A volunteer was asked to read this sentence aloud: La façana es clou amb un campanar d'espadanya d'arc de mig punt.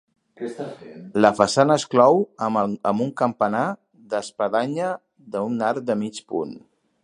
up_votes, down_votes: 1, 3